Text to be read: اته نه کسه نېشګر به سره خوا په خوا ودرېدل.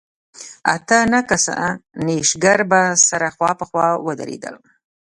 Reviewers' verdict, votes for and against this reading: accepted, 2, 0